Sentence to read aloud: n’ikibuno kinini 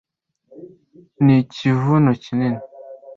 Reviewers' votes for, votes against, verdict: 1, 2, rejected